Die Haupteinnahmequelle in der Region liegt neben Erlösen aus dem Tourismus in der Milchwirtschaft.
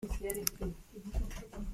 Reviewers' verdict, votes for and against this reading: rejected, 0, 2